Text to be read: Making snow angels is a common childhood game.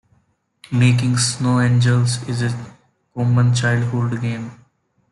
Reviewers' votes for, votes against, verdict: 2, 0, accepted